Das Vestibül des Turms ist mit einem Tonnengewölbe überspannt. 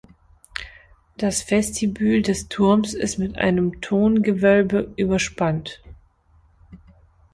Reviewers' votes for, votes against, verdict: 0, 2, rejected